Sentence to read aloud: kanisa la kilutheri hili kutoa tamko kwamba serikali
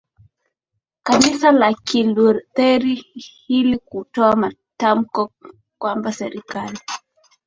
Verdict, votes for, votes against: accepted, 15, 6